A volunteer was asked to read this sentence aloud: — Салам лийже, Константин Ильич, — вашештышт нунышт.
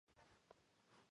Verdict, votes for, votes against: rejected, 0, 2